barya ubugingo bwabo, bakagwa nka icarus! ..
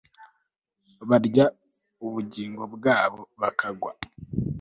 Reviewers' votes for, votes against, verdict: 1, 2, rejected